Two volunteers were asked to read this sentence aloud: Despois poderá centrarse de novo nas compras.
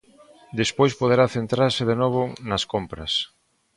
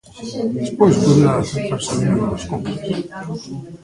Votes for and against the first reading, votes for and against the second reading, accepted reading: 2, 0, 0, 2, first